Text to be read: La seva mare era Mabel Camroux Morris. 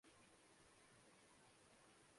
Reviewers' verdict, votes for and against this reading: rejected, 0, 2